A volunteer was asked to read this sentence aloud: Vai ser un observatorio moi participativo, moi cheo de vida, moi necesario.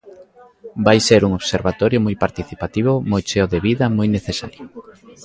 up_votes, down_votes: 2, 1